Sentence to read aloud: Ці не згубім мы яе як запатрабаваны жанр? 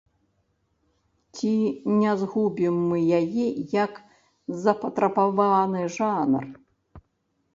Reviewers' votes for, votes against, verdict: 1, 2, rejected